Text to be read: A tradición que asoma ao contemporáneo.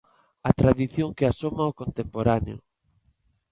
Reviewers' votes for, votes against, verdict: 2, 0, accepted